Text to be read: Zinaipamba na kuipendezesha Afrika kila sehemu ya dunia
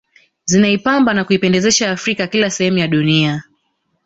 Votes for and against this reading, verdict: 1, 2, rejected